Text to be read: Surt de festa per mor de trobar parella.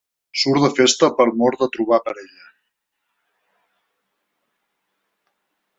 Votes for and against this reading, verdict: 2, 0, accepted